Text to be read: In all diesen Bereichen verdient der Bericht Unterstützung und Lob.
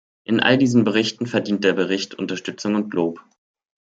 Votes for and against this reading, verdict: 0, 2, rejected